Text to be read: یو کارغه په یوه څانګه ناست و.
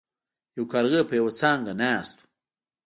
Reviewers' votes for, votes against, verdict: 2, 0, accepted